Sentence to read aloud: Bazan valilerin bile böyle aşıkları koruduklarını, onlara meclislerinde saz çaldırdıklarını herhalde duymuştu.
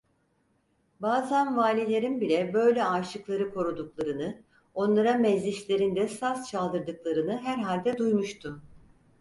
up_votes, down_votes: 4, 0